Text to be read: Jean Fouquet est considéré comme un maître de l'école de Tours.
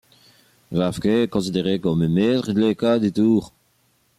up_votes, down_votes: 1, 2